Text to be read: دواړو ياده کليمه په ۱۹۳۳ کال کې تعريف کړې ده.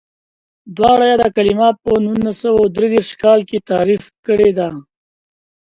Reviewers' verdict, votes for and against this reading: rejected, 0, 2